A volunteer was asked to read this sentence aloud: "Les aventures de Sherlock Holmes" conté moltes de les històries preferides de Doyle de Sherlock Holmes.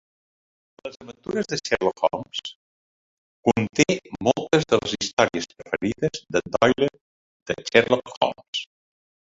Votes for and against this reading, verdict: 2, 0, accepted